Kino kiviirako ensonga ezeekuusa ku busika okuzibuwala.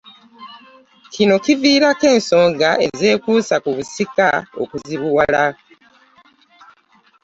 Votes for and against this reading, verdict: 2, 0, accepted